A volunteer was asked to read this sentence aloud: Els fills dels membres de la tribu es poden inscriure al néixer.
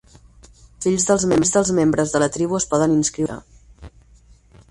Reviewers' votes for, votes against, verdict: 0, 4, rejected